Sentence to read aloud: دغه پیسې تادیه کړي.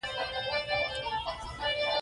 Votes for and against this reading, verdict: 0, 2, rejected